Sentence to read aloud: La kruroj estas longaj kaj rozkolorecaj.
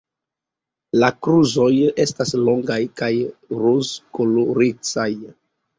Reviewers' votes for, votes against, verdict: 1, 2, rejected